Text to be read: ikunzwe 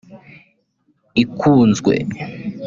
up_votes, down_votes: 1, 2